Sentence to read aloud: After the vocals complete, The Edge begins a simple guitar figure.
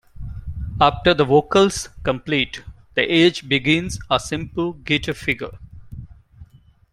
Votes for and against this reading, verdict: 2, 1, accepted